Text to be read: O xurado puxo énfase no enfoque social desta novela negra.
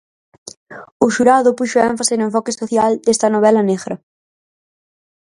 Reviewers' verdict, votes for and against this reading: rejected, 0, 4